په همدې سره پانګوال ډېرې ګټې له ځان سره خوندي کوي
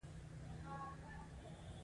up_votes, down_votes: 2, 0